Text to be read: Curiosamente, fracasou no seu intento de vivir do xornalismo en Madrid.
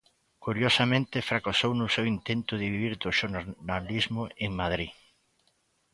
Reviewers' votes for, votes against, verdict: 0, 2, rejected